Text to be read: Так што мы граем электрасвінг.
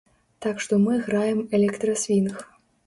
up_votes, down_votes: 3, 0